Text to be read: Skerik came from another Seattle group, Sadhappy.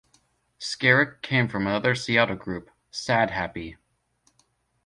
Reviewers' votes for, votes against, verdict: 1, 2, rejected